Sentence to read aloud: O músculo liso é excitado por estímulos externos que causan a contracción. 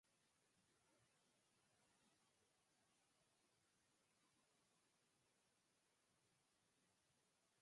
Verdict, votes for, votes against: rejected, 0, 4